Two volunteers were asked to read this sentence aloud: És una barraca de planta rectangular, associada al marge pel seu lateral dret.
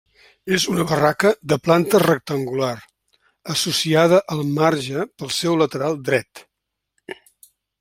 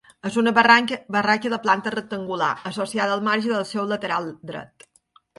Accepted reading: first